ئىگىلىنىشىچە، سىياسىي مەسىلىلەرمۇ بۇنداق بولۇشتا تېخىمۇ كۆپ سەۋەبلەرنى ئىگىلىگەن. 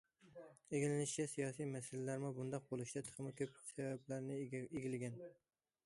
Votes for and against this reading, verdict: 0, 2, rejected